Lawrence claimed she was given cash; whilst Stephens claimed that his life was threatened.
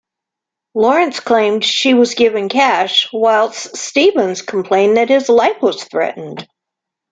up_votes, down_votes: 0, 2